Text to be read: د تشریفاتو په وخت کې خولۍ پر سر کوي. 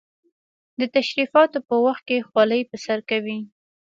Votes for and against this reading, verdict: 2, 0, accepted